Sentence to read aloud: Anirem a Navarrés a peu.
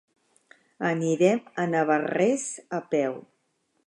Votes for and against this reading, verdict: 3, 0, accepted